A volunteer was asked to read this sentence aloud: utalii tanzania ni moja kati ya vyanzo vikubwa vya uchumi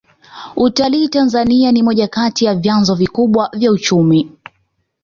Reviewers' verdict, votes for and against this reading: accepted, 2, 0